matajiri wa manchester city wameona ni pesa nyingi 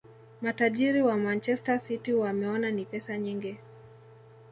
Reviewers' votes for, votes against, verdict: 0, 2, rejected